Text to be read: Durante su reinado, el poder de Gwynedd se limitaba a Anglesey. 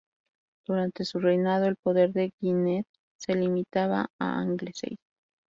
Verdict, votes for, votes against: rejected, 0, 2